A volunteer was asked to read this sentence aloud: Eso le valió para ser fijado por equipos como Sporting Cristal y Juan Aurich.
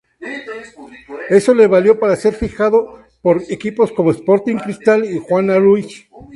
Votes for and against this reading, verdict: 0, 2, rejected